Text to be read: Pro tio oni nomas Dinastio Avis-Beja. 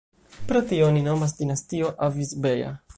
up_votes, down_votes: 0, 2